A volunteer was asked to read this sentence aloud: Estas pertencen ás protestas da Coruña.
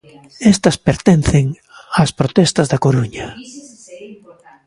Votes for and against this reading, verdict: 0, 2, rejected